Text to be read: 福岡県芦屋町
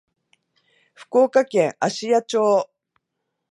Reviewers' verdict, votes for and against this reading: accepted, 2, 0